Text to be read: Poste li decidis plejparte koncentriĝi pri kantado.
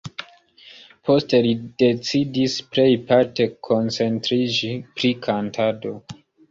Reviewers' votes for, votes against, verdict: 2, 0, accepted